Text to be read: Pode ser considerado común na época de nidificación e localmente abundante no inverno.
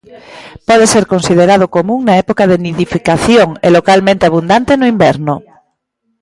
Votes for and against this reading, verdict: 2, 0, accepted